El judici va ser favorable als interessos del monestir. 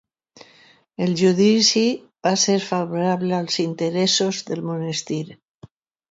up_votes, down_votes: 2, 0